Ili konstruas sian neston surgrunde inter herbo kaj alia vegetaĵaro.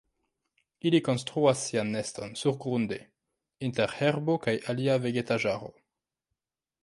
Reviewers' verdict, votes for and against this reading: rejected, 0, 2